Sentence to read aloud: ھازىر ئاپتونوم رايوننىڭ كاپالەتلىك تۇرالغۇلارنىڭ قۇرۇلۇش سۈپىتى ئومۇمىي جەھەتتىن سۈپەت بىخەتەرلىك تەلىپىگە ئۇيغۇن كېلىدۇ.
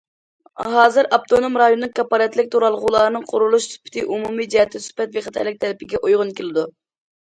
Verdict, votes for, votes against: accepted, 2, 0